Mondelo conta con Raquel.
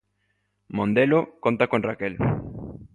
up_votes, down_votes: 2, 0